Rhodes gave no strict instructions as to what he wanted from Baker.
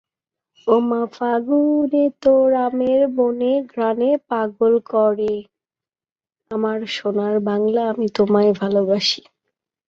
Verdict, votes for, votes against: rejected, 0, 2